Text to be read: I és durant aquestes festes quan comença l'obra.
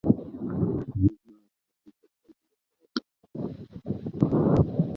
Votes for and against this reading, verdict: 0, 4, rejected